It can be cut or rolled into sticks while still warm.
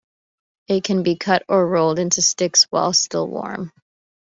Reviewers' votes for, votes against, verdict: 2, 0, accepted